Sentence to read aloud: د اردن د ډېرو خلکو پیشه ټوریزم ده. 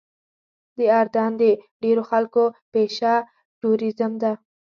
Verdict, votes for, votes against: accepted, 2, 0